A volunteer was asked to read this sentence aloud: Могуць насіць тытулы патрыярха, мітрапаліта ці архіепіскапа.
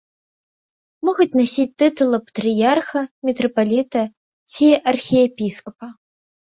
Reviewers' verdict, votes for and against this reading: accepted, 2, 0